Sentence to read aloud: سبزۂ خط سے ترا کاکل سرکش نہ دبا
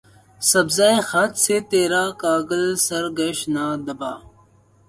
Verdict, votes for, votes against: rejected, 0, 4